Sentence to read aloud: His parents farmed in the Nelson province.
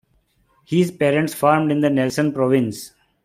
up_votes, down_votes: 2, 0